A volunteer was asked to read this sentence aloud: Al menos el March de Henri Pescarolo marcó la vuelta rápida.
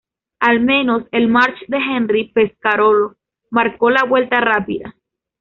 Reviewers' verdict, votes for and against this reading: accepted, 2, 0